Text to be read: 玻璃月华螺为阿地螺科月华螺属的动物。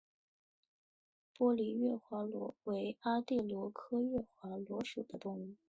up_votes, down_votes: 3, 0